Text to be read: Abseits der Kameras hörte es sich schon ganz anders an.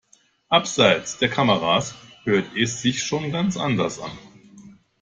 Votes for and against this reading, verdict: 0, 2, rejected